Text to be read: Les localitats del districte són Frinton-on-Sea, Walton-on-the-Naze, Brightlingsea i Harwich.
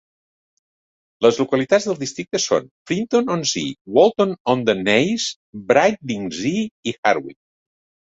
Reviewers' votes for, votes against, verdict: 2, 0, accepted